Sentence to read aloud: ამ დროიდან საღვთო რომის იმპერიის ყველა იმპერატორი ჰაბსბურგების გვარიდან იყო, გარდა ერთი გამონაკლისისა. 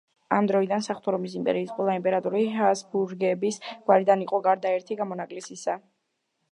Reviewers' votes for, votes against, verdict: 2, 0, accepted